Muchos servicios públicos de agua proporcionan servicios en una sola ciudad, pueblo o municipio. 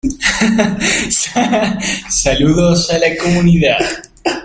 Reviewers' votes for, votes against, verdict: 0, 2, rejected